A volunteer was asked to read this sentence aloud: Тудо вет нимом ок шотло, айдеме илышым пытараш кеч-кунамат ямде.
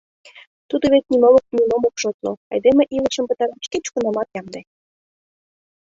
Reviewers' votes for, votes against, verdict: 0, 2, rejected